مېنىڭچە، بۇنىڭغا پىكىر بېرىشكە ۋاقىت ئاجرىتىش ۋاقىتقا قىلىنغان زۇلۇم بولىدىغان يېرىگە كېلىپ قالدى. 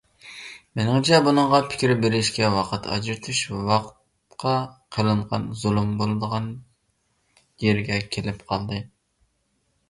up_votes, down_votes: 0, 3